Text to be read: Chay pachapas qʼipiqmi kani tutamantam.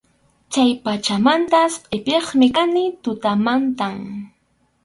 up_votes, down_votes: 2, 2